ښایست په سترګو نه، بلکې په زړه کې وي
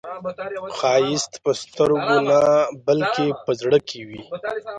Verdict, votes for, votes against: rejected, 1, 2